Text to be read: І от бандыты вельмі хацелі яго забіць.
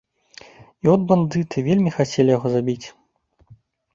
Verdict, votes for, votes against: accepted, 2, 0